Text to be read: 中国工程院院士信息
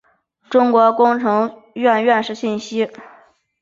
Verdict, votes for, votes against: accepted, 2, 0